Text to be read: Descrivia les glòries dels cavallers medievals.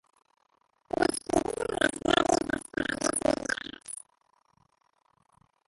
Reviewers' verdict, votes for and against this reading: rejected, 0, 3